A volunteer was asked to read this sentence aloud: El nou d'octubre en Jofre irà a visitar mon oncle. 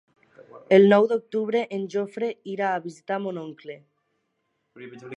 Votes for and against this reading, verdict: 1, 2, rejected